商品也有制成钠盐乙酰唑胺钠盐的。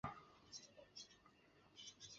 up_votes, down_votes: 1, 4